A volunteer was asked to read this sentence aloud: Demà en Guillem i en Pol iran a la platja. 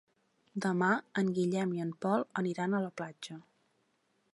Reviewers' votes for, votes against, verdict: 0, 2, rejected